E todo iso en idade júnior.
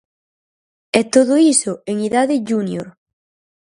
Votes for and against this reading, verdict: 6, 0, accepted